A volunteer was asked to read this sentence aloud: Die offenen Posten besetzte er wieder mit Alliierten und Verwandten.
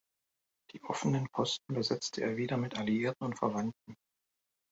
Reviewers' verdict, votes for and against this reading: accepted, 2, 0